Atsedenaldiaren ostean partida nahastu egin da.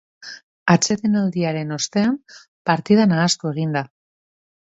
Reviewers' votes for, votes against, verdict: 2, 0, accepted